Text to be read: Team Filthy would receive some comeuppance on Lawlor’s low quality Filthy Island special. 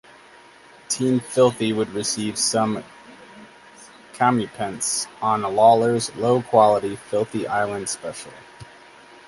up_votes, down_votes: 2, 2